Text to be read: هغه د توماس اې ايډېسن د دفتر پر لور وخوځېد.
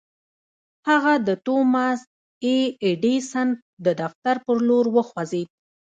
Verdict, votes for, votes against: rejected, 0, 2